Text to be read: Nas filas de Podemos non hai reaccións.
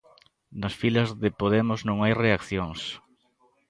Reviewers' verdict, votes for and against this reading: accepted, 2, 0